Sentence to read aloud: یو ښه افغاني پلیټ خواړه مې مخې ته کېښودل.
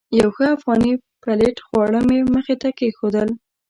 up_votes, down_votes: 0, 2